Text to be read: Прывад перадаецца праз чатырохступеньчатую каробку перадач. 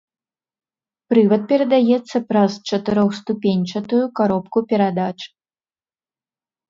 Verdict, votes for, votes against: accepted, 2, 0